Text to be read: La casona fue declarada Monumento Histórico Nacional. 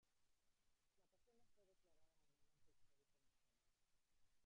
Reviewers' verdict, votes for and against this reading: rejected, 1, 2